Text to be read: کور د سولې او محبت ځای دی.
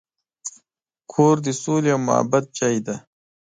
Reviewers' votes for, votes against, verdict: 1, 2, rejected